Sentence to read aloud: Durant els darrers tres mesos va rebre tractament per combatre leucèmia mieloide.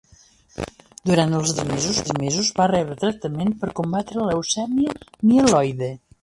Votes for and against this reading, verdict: 1, 2, rejected